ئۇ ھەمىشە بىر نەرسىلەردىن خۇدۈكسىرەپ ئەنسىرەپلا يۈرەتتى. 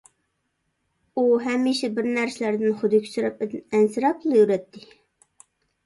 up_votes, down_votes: 0, 2